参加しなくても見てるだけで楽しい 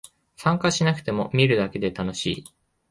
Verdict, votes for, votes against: accepted, 2, 1